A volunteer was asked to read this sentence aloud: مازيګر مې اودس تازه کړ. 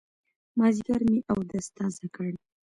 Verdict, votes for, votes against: accepted, 2, 0